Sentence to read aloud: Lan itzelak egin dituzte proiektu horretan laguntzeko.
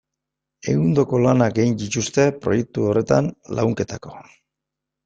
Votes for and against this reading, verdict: 1, 2, rejected